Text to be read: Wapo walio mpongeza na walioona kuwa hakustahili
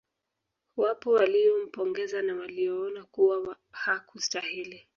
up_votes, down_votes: 1, 2